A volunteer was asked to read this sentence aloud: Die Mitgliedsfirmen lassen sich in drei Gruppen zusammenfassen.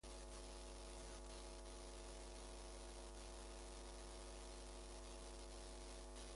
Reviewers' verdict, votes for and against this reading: rejected, 0, 2